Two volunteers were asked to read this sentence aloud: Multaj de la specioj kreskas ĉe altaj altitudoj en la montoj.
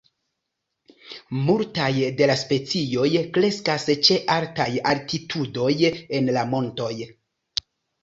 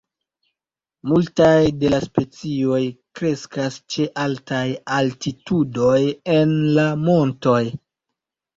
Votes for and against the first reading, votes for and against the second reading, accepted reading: 1, 2, 2, 0, second